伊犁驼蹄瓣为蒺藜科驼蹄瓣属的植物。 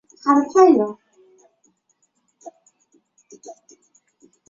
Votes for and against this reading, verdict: 0, 5, rejected